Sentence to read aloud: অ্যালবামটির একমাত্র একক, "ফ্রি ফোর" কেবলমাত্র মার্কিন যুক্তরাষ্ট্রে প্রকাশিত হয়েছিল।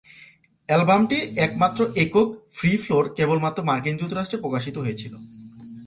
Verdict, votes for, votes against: rejected, 1, 2